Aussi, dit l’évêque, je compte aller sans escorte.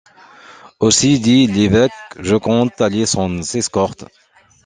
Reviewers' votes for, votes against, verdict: 2, 0, accepted